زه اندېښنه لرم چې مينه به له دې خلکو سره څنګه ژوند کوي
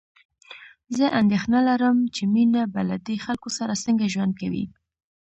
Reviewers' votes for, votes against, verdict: 2, 0, accepted